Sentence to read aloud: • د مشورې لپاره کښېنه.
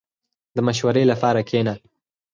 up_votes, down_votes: 4, 0